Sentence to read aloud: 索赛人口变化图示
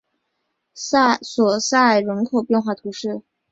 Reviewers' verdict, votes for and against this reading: rejected, 1, 2